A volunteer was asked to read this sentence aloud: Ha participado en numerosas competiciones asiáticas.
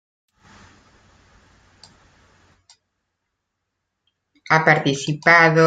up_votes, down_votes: 0, 2